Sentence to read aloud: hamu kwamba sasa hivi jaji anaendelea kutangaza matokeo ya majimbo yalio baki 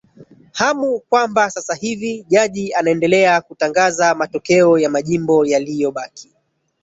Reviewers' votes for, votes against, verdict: 1, 2, rejected